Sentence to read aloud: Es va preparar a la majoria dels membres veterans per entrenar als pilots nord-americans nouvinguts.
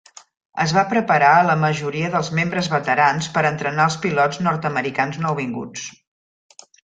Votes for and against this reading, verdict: 3, 0, accepted